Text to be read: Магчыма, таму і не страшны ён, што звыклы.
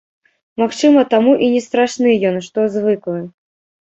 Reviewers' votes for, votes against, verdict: 0, 2, rejected